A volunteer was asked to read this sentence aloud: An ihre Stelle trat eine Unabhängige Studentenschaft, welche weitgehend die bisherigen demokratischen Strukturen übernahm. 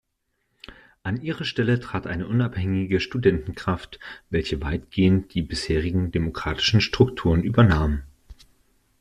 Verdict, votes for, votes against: rejected, 0, 2